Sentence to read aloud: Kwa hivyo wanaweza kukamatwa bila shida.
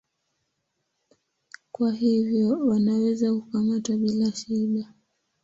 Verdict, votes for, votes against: rejected, 4, 6